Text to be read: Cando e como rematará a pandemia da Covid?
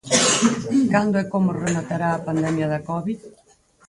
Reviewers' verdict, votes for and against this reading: rejected, 0, 4